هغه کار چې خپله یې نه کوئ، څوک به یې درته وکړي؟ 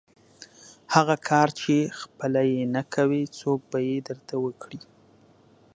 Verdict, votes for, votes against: accepted, 2, 0